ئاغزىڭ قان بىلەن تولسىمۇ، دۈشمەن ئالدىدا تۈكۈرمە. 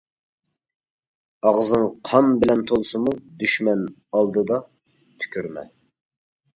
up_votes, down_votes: 2, 0